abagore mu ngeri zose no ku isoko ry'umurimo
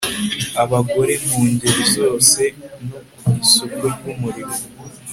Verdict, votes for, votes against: accepted, 2, 0